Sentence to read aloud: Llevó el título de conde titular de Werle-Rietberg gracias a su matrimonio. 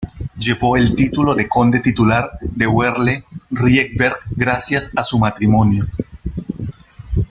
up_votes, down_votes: 2, 0